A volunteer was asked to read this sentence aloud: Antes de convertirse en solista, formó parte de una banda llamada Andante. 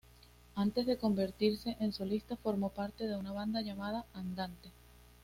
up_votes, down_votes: 2, 0